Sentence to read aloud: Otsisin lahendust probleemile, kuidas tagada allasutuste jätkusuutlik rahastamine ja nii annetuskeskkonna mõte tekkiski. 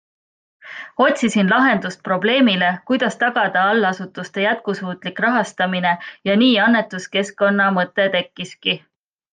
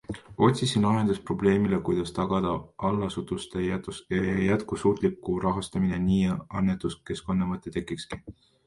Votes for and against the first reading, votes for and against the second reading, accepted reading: 2, 0, 1, 2, first